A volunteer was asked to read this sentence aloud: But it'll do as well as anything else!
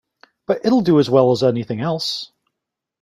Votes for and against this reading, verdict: 2, 0, accepted